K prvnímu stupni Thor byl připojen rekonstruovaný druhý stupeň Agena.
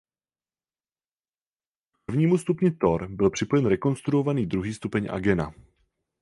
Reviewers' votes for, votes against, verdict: 0, 4, rejected